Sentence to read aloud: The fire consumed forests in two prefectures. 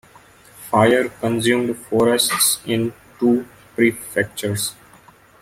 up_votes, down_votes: 0, 2